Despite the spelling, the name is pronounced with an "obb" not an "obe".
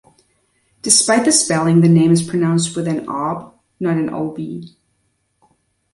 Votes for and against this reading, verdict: 1, 2, rejected